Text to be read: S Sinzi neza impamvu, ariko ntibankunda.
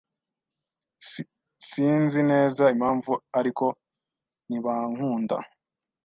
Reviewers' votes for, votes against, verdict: 2, 0, accepted